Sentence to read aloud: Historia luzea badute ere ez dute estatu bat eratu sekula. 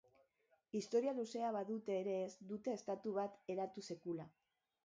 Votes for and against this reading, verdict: 0, 2, rejected